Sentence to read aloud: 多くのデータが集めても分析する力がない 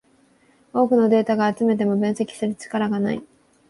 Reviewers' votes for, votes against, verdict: 3, 0, accepted